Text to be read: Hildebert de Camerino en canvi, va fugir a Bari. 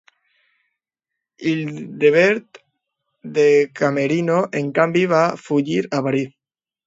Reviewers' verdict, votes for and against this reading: rejected, 1, 2